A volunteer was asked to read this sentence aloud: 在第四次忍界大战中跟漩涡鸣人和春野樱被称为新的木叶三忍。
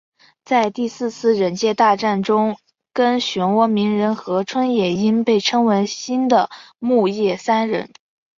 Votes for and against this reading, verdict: 2, 0, accepted